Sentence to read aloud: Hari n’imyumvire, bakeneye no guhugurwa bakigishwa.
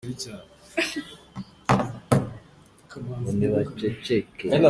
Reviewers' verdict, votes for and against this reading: rejected, 0, 2